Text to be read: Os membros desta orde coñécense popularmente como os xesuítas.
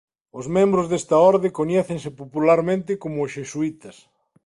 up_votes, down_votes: 2, 0